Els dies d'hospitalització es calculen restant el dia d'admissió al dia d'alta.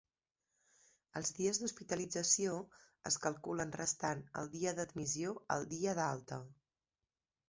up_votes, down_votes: 1, 2